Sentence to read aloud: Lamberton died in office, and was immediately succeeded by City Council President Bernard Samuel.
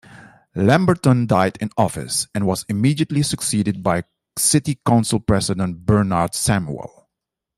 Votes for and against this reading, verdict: 2, 0, accepted